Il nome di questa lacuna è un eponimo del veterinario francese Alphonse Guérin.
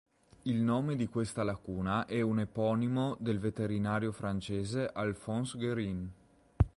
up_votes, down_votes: 2, 0